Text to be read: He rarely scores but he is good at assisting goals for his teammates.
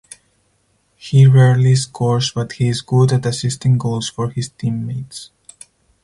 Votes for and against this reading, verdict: 4, 0, accepted